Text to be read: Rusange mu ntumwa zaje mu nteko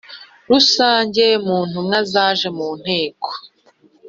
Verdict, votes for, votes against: accepted, 2, 0